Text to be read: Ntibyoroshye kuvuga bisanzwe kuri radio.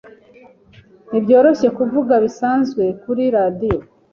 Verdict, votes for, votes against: accepted, 2, 0